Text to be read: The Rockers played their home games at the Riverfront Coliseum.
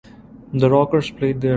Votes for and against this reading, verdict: 0, 2, rejected